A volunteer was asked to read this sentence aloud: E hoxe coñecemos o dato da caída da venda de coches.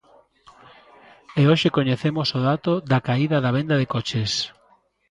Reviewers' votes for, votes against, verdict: 2, 0, accepted